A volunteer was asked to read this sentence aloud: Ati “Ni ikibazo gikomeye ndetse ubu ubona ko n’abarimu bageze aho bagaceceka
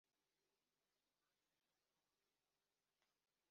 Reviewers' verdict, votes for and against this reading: rejected, 0, 3